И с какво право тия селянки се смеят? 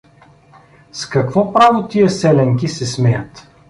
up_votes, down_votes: 1, 2